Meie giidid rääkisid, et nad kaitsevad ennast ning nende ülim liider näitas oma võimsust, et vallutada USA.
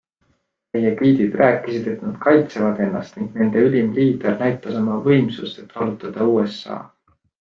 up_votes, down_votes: 2, 0